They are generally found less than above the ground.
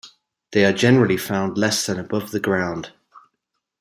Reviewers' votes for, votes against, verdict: 2, 0, accepted